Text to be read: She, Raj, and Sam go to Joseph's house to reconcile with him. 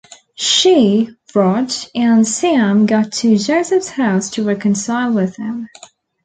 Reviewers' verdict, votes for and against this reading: accepted, 2, 0